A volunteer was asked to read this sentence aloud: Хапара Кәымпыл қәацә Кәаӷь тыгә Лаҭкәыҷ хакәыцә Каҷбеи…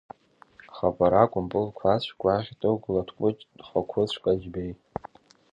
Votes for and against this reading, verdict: 0, 2, rejected